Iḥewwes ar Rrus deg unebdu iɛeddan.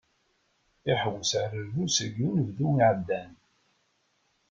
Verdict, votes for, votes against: accepted, 2, 0